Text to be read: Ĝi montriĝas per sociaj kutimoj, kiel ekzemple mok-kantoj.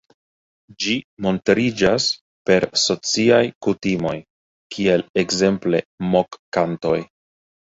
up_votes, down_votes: 2, 0